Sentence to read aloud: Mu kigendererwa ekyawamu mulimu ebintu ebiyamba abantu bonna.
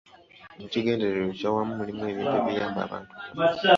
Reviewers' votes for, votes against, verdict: 0, 2, rejected